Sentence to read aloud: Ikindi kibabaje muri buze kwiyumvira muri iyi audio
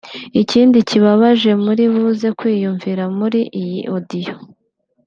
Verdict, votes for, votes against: accepted, 3, 0